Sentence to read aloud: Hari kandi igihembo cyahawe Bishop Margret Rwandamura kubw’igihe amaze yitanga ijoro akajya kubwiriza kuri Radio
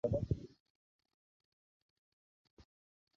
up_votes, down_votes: 0, 2